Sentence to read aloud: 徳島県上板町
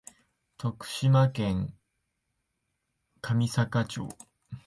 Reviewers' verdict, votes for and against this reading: rejected, 0, 2